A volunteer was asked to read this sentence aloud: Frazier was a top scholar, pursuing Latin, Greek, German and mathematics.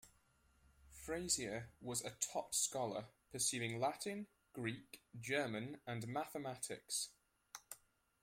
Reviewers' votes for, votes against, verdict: 2, 1, accepted